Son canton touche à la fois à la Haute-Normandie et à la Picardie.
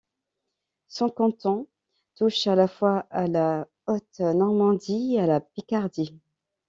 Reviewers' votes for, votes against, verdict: 2, 0, accepted